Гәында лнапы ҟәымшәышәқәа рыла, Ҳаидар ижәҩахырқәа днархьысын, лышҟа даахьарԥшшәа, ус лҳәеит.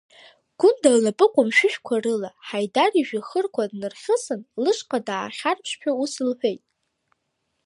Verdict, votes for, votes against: rejected, 1, 2